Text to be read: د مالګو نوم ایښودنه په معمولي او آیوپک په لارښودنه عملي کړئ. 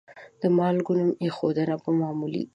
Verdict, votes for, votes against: rejected, 0, 2